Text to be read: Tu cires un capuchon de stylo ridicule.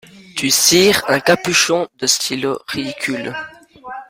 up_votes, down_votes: 0, 2